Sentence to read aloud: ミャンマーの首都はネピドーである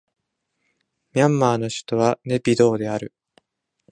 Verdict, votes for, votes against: accepted, 2, 0